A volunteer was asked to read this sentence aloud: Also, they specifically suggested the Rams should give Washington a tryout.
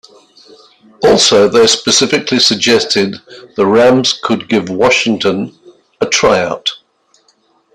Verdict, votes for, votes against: rejected, 0, 3